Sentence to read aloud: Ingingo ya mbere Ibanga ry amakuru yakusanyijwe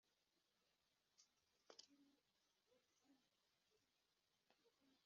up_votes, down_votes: 1, 2